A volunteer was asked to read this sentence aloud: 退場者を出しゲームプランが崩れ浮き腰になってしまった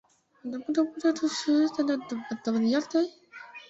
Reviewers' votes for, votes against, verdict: 0, 2, rejected